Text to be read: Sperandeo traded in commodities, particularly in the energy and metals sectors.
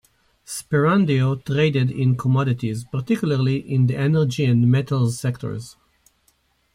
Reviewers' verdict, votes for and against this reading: accepted, 2, 0